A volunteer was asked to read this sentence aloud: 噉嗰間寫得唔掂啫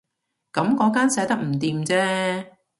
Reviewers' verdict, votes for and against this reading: accepted, 2, 0